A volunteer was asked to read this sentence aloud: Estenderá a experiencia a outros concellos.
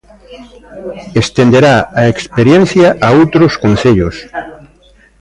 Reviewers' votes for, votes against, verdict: 1, 2, rejected